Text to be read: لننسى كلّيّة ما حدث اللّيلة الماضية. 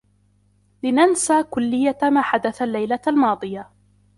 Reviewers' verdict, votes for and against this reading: accepted, 2, 1